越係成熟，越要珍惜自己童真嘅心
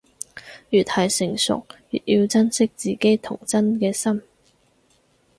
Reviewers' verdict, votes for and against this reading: accepted, 4, 0